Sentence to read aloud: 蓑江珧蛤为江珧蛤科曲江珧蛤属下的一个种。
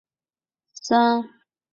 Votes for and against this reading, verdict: 0, 2, rejected